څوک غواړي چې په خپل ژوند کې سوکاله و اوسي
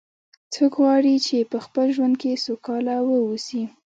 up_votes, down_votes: 1, 2